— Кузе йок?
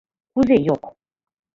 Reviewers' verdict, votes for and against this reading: accepted, 2, 0